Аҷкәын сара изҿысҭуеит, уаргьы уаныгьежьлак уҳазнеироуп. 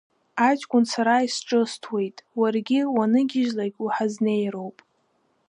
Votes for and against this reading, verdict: 2, 0, accepted